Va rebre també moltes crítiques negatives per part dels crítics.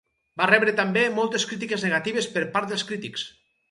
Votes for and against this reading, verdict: 2, 0, accepted